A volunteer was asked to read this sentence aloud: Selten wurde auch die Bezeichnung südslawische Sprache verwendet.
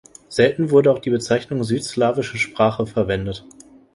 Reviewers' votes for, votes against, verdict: 2, 0, accepted